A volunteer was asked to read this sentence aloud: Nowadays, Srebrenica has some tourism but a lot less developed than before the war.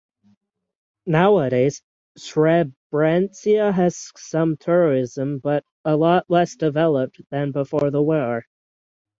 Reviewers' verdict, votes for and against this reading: rejected, 0, 6